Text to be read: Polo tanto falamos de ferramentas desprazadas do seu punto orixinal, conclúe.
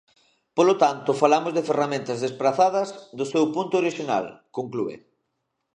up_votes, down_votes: 2, 0